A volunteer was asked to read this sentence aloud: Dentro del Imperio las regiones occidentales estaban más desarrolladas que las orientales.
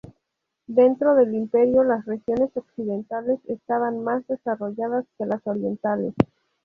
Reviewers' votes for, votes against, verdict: 2, 0, accepted